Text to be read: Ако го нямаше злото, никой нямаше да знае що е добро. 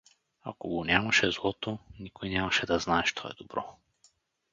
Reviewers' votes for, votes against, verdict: 4, 0, accepted